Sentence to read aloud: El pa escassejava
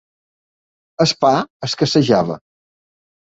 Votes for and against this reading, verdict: 1, 2, rejected